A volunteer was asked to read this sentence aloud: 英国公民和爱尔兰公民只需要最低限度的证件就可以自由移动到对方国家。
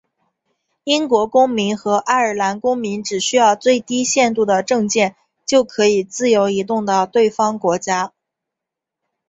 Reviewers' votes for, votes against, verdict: 2, 0, accepted